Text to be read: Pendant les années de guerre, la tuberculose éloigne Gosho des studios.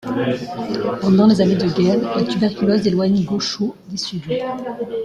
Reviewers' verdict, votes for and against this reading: rejected, 0, 2